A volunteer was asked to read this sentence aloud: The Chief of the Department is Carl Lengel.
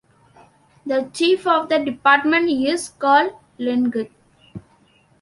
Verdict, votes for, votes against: rejected, 1, 2